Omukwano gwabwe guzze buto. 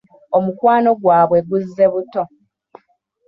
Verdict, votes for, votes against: accepted, 2, 0